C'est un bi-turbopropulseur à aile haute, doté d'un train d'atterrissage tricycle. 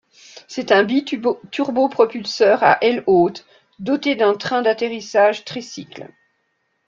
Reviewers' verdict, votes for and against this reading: rejected, 0, 2